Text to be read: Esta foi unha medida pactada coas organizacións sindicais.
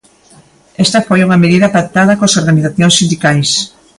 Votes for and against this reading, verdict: 3, 0, accepted